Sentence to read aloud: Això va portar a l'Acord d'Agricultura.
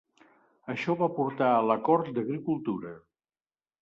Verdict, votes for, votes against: accepted, 2, 0